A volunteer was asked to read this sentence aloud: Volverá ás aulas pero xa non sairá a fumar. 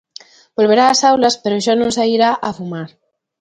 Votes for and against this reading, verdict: 2, 0, accepted